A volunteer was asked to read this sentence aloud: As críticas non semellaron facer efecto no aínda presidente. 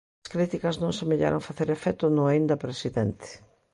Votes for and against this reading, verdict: 2, 1, accepted